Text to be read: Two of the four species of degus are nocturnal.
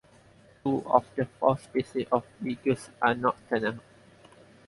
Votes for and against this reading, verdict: 4, 0, accepted